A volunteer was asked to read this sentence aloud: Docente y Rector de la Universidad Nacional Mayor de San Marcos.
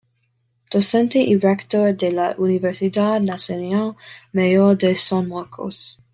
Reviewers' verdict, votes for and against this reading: accepted, 2, 1